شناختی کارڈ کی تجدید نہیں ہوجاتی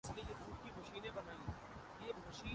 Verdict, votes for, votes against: rejected, 0, 2